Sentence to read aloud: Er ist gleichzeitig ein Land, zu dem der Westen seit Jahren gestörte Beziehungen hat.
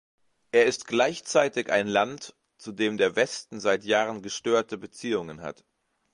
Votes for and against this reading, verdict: 2, 0, accepted